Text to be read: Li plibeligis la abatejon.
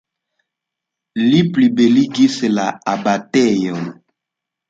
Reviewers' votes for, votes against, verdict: 2, 0, accepted